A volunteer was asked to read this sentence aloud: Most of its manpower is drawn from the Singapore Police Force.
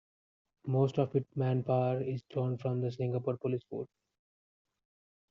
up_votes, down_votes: 2, 1